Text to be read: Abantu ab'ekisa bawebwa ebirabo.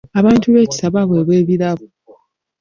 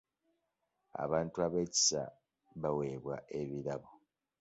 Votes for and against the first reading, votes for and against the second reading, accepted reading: 1, 2, 3, 0, second